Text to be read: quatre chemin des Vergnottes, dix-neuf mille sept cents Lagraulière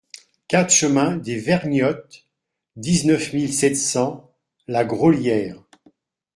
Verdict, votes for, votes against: accepted, 2, 0